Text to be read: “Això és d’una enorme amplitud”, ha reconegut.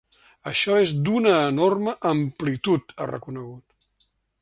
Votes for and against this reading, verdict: 4, 0, accepted